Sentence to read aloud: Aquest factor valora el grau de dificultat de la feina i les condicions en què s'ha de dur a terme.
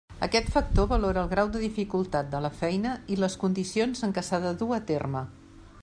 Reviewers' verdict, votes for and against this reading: accepted, 3, 0